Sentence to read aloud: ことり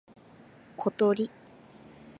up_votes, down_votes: 3, 0